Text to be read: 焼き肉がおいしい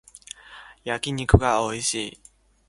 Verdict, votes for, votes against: accepted, 2, 0